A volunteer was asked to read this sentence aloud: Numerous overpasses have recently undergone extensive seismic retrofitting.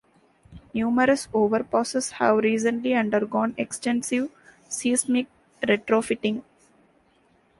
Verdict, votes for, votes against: rejected, 1, 2